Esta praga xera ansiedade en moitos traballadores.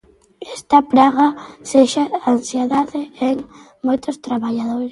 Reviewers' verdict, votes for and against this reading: rejected, 0, 3